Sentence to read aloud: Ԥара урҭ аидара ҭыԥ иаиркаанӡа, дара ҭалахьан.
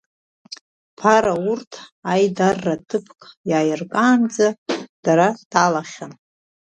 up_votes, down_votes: 1, 2